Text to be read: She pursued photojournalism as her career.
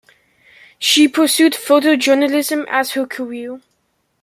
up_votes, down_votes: 2, 1